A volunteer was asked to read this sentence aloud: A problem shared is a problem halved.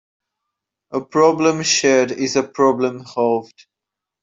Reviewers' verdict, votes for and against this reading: accepted, 3, 0